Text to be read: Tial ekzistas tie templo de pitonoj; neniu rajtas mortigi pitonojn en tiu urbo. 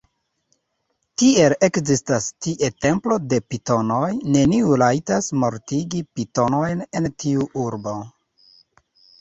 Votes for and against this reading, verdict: 2, 3, rejected